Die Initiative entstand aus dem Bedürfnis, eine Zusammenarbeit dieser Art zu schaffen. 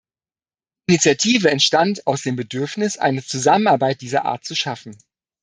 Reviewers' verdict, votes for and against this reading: rejected, 1, 2